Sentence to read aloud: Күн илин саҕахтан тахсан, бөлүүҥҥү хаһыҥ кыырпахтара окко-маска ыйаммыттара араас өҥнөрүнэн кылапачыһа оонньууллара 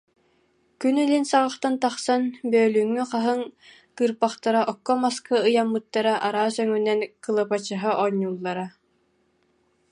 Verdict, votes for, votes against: rejected, 0, 2